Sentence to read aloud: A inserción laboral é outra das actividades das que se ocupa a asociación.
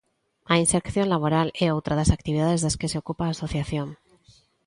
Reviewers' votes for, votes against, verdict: 2, 0, accepted